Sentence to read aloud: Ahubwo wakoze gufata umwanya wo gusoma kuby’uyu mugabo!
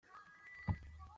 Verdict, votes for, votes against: rejected, 0, 2